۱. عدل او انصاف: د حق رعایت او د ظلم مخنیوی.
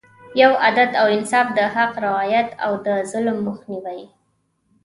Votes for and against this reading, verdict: 0, 2, rejected